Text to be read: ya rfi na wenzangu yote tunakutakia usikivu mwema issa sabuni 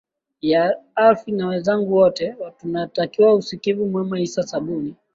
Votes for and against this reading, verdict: 3, 4, rejected